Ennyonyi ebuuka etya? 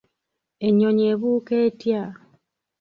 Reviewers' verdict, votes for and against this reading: rejected, 1, 2